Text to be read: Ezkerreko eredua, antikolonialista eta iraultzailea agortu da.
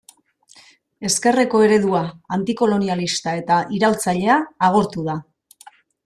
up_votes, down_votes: 2, 0